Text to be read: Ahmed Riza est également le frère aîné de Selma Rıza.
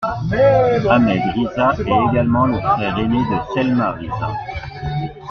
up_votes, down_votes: 2, 1